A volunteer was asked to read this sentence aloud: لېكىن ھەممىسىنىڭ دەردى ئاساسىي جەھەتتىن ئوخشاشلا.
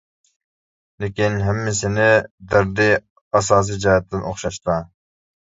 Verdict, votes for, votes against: rejected, 0, 2